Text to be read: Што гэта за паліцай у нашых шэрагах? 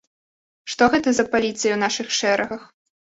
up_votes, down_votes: 1, 2